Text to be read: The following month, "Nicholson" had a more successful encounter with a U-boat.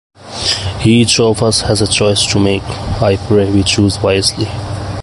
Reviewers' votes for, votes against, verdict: 0, 2, rejected